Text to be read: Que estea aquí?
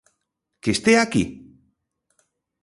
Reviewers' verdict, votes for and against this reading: accepted, 2, 0